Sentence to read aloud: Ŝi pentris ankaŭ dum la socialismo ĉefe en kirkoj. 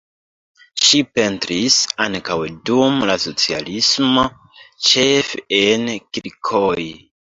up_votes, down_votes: 0, 2